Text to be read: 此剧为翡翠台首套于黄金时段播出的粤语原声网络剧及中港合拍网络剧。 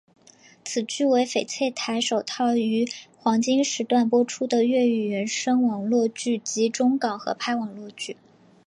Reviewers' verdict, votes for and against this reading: accepted, 2, 0